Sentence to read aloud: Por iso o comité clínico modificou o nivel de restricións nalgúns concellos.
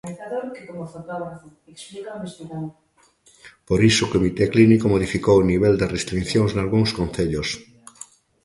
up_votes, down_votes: 1, 2